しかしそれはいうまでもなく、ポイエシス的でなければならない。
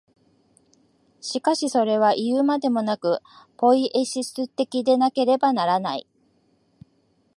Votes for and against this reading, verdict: 4, 0, accepted